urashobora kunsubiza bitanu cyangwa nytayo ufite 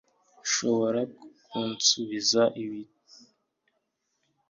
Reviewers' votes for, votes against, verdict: 0, 2, rejected